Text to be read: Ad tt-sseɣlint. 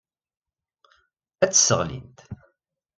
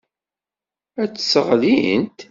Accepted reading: first